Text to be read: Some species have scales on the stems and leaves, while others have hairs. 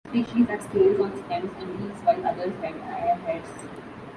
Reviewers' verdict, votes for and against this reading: rejected, 0, 2